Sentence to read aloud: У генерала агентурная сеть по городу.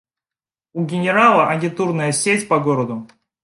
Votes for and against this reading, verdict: 1, 2, rejected